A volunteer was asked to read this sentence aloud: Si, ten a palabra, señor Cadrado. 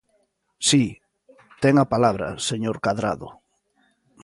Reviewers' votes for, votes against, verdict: 2, 0, accepted